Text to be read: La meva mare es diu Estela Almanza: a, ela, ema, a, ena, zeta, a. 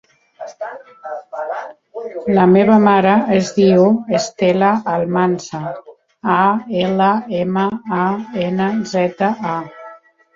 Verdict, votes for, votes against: rejected, 1, 2